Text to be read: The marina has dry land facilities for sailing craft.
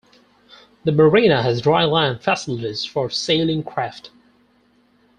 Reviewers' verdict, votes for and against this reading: rejected, 0, 4